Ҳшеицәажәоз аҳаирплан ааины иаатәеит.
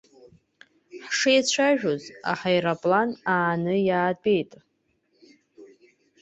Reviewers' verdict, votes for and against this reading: rejected, 1, 2